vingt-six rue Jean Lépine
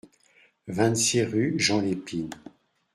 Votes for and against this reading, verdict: 2, 0, accepted